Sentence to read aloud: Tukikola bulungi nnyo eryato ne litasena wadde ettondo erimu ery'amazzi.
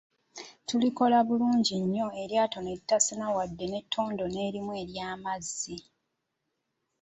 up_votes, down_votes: 2, 0